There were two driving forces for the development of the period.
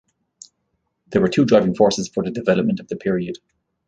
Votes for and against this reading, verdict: 0, 2, rejected